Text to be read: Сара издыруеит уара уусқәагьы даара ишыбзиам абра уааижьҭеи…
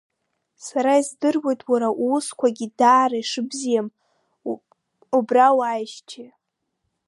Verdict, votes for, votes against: rejected, 1, 2